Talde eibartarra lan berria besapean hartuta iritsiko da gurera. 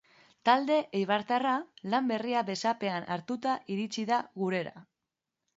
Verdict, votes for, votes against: rejected, 0, 3